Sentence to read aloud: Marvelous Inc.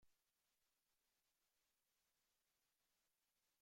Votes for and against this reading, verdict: 0, 2, rejected